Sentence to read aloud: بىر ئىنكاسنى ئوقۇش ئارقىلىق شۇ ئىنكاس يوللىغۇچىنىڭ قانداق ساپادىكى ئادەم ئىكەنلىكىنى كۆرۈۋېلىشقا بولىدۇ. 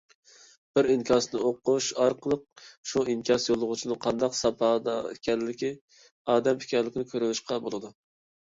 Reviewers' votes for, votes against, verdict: 0, 2, rejected